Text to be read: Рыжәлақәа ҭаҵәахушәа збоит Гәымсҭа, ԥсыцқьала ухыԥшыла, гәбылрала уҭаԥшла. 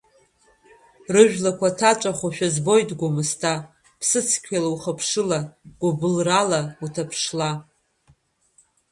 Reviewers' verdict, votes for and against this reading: rejected, 1, 2